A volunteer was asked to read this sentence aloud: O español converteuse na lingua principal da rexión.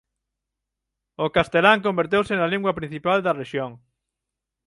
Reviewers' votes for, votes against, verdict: 6, 9, rejected